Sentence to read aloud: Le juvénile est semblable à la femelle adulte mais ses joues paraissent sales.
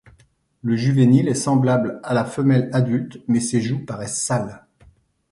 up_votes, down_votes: 2, 0